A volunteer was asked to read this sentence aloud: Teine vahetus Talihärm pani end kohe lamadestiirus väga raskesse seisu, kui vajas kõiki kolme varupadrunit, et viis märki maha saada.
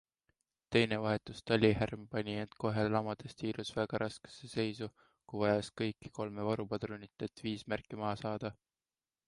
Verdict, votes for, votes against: accepted, 2, 0